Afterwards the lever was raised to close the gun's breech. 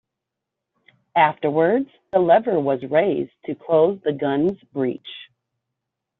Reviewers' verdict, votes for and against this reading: accepted, 2, 0